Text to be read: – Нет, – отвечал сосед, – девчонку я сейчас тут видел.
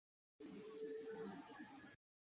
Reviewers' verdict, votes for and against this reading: rejected, 0, 2